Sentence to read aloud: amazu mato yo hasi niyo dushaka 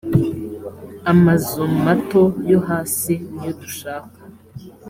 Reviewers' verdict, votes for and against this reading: accepted, 3, 0